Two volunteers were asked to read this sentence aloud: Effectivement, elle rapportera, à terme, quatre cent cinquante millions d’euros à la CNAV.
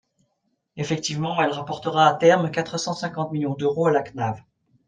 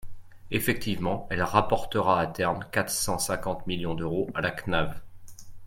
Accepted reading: second